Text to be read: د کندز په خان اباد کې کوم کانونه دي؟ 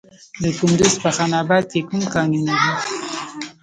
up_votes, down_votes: 1, 2